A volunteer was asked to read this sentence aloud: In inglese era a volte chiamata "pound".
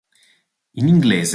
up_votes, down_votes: 0, 3